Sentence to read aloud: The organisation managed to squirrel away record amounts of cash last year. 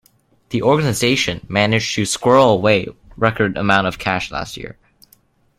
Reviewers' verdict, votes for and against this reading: rejected, 0, 2